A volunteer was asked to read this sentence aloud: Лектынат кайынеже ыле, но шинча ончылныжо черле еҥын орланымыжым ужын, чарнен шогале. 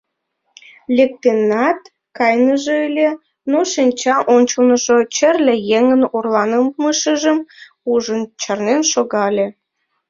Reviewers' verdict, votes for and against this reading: rejected, 0, 2